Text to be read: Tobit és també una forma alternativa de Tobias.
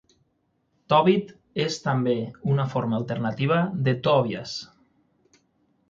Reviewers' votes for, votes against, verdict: 3, 6, rejected